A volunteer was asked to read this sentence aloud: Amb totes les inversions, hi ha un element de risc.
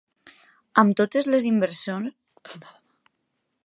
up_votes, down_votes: 1, 2